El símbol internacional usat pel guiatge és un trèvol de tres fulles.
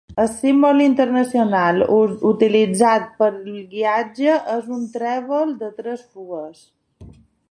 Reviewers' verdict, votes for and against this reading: rejected, 1, 2